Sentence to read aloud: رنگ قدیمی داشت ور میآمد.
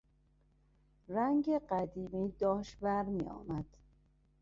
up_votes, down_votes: 2, 0